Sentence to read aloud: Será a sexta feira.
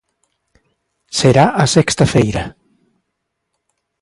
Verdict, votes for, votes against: accepted, 2, 0